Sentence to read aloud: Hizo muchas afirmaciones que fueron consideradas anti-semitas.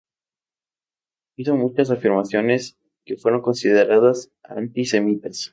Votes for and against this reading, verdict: 2, 0, accepted